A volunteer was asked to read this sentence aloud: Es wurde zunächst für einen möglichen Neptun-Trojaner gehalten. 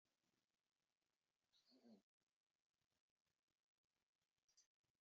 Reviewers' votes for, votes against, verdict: 1, 2, rejected